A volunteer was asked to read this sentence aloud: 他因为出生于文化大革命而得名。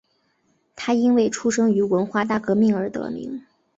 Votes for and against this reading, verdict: 2, 0, accepted